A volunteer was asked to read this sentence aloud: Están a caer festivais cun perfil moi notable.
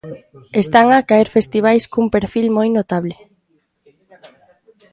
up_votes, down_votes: 1, 2